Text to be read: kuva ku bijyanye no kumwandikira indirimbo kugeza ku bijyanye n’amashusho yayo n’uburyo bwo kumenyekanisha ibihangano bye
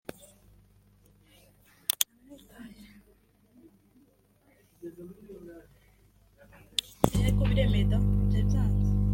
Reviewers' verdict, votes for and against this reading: rejected, 0, 2